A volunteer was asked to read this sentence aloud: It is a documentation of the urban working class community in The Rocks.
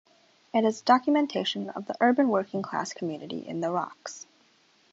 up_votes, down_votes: 0, 2